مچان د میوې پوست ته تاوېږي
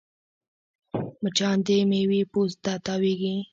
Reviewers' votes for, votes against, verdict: 0, 2, rejected